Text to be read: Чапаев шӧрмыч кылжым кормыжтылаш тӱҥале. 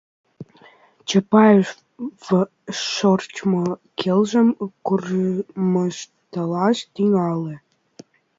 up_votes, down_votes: 0, 2